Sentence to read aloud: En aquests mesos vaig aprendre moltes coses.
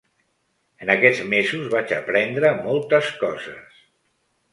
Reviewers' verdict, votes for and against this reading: accepted, 3, 0